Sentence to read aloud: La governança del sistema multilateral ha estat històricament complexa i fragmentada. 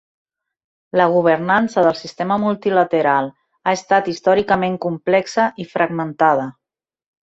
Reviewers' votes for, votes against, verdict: 0, 2, rejected